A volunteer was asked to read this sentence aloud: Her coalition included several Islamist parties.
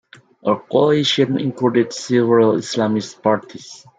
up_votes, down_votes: 2, 1